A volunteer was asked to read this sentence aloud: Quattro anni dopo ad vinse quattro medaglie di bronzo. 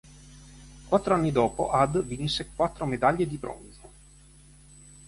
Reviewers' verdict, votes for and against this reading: accepted, 4, 1